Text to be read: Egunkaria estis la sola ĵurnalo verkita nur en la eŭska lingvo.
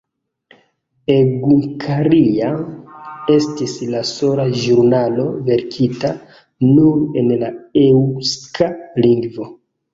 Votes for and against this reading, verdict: 2, 0, accepted